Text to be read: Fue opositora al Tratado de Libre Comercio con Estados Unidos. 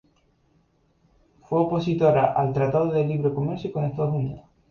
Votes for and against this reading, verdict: 2, 0, accepted